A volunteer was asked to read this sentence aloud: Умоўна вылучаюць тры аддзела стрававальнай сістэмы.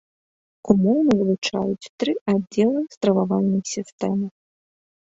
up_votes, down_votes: 2, 1